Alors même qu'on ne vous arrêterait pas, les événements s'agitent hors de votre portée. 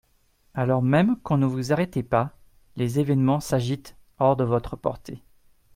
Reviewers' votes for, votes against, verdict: 0, 2, rejected